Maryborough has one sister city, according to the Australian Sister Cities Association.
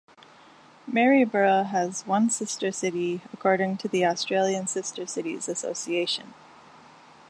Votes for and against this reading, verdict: 2, 0, accepted